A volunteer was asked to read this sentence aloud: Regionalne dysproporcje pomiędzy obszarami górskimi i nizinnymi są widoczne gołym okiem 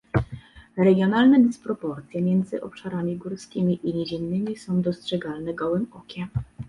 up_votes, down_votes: 0, 2